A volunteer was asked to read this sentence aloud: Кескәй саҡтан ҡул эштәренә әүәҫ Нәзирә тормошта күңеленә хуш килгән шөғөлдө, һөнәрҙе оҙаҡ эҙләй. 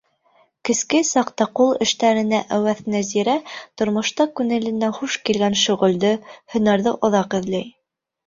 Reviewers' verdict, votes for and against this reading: rejected, 1, 2